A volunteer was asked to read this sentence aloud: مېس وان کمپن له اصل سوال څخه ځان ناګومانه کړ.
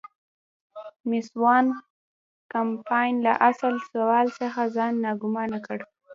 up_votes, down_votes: 1, 2